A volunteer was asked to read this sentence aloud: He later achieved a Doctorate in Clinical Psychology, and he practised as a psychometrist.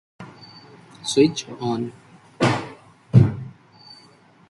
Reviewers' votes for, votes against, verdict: 0, 2, rejected